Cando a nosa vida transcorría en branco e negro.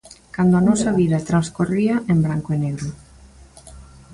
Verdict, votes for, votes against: accepted, 2, 0